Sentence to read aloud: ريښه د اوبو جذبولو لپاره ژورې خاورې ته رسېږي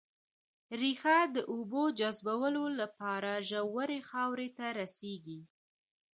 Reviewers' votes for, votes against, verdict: 2, 0, accepted